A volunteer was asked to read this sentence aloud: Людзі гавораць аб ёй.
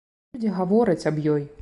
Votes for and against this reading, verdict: 2, 0, accepted